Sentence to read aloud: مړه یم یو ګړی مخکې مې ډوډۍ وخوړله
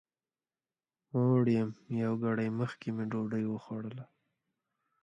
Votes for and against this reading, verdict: 0, 2, rejected